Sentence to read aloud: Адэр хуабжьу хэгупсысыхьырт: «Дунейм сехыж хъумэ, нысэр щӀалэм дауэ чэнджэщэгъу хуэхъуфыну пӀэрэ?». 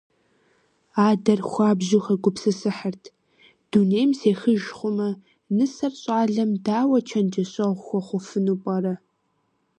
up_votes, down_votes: 2, 0